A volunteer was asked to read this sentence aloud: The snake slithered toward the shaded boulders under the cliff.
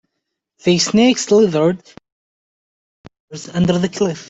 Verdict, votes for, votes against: rejected, 0, 4